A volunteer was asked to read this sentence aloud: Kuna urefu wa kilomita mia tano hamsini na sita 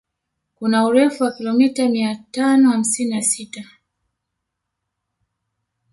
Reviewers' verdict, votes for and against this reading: accepted, 2, 0